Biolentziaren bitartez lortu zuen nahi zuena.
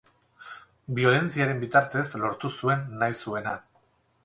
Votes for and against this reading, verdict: 0, 2, rejected